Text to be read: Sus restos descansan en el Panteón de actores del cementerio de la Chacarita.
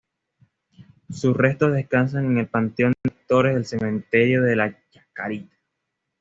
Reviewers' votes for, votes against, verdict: 2, 1, accepted